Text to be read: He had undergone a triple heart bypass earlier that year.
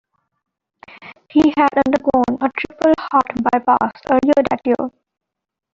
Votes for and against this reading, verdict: 1, 2, rejected